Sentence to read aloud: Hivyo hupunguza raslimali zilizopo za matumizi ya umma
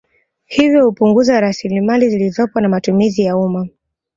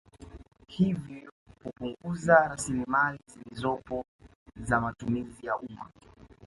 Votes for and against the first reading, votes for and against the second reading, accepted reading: 2, 0, 1, 2, first